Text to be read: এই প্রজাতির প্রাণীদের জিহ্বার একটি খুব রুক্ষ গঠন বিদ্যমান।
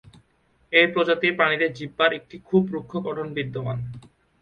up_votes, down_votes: 1, 2